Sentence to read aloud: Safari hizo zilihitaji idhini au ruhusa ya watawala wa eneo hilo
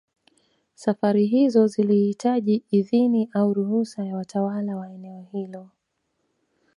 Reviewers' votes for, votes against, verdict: 2, 0, accepted